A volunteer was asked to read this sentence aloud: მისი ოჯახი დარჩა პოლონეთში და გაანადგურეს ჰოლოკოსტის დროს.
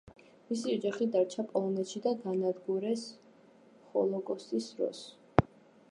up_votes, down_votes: 1, 2